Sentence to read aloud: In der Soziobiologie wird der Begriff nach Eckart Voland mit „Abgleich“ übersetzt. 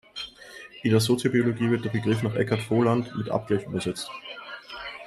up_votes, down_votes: 2, 1